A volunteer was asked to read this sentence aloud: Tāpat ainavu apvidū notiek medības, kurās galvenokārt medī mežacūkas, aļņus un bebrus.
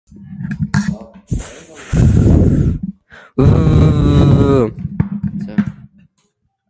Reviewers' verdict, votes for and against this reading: rejected, 0, 2